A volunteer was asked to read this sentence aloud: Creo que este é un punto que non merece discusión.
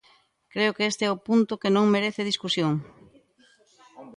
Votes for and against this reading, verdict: 1, 2, rejected